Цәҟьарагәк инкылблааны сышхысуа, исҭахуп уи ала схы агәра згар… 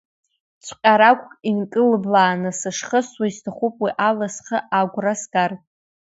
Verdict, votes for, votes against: accepted, 2, 1